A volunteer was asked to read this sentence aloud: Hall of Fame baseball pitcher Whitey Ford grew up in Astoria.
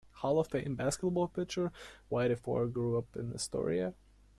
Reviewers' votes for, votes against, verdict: 1, 2, rejected